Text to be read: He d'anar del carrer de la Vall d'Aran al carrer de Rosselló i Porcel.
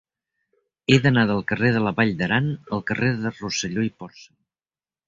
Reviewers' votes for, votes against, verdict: 0, 2, rejected